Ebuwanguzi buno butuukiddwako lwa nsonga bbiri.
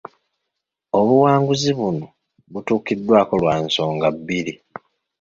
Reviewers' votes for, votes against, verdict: 1, 2, rejected